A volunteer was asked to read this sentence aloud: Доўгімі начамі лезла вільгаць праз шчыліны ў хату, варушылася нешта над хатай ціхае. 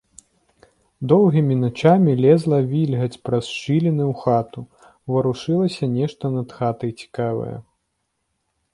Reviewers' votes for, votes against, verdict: 0, 2, rejected